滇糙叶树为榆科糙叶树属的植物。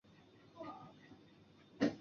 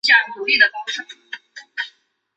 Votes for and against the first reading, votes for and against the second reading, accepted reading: 0, 4, 2, 0, second